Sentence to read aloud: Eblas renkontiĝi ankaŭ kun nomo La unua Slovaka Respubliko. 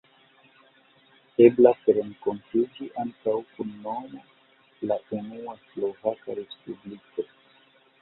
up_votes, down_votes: 0, 2